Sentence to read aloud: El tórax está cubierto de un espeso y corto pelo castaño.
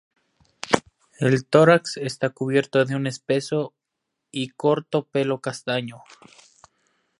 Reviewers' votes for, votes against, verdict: 0, 2, rejected